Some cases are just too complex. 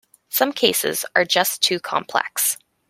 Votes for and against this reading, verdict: 2, 0, accepted